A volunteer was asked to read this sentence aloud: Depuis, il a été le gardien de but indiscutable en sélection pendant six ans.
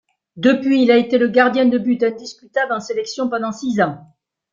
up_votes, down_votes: 1, 2